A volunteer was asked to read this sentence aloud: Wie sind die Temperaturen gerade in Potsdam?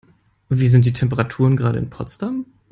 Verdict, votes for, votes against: accepted, 2, 0